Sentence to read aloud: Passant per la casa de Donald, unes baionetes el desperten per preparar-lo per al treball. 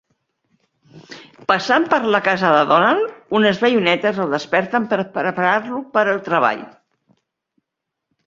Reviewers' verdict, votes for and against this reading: rejected, 1, 2